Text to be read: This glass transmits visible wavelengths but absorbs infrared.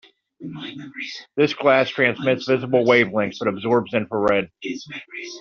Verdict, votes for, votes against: rejected, 1, 2